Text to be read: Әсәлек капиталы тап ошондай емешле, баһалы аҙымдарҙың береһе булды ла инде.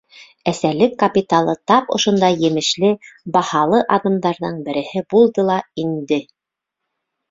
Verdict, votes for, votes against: accepted, 2, 0